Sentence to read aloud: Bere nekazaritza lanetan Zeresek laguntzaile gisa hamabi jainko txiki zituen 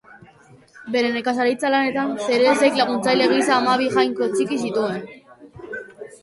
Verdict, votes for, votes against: rejected, 1, 2